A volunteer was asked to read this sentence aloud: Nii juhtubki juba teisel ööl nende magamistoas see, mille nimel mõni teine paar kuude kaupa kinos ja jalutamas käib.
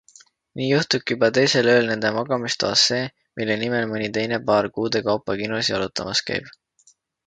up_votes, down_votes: 2, 0